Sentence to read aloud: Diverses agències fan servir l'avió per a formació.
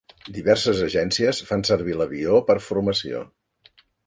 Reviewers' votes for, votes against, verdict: 0, 2, rejected